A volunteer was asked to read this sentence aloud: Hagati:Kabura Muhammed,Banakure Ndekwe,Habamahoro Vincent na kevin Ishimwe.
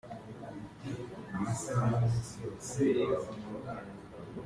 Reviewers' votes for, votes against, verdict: 0, 3, rejected